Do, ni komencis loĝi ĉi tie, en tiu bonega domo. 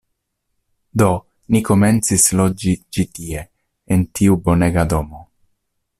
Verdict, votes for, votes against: accepted, 2, 0